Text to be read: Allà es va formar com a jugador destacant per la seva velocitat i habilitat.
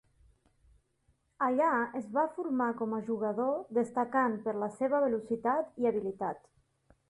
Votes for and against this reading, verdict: 4, 0, accepted